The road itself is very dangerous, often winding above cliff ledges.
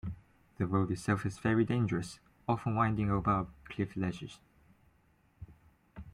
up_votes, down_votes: 2, 0